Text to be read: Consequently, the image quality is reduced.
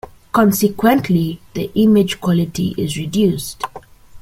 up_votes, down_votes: 2, 0